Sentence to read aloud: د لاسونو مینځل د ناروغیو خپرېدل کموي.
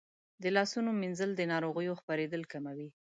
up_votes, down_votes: 2, 0